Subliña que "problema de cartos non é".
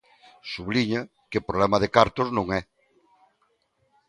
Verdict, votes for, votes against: accepted, 2, 0